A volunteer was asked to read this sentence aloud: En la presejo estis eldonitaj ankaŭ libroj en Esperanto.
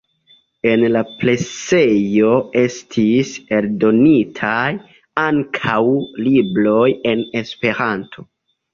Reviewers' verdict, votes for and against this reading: accepted, 2, 1